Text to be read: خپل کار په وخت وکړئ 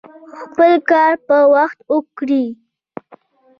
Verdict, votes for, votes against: accepted, 2, 1